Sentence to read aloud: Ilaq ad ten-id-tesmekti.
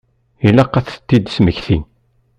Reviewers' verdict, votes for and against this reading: rejected, 1, 2